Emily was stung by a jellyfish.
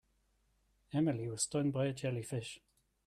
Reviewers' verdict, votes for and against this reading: accepted, 2, 0